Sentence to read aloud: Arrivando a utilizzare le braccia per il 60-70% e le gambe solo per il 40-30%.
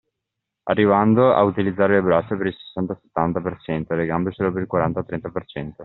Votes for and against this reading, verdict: 0, 2, rejected